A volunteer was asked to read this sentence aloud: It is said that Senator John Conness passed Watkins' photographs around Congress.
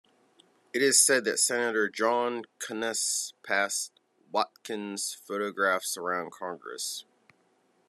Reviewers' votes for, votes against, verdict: 2, 0, accepted